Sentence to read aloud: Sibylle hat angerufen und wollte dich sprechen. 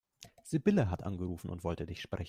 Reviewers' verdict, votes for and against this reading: rejected, 1, 2